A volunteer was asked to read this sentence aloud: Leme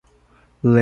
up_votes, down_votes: 0, 2